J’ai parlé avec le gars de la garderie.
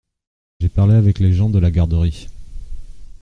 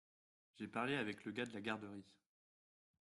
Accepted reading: second